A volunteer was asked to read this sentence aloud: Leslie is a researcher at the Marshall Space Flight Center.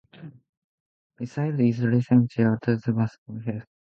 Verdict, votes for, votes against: rejected, 0, 2